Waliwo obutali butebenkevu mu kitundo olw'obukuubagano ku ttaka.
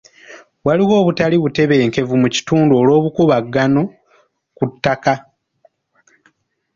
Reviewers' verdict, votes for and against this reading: accepted, 2, 0